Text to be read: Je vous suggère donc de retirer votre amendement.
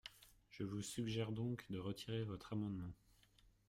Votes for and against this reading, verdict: 1, 2, rejected